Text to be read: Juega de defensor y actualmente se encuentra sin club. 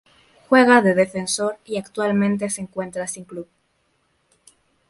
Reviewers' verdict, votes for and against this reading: accepted, 2, 0